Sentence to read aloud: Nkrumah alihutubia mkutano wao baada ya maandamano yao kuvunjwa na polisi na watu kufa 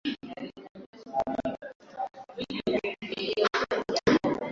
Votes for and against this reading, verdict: 0, 2, rejected